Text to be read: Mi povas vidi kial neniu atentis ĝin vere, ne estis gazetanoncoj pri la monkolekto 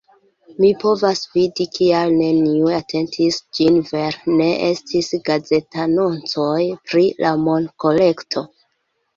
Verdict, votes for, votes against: accepted, 2, 1